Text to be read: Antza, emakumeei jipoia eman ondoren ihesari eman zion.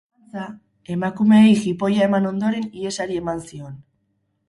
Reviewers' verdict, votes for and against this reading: rejected, 2, 4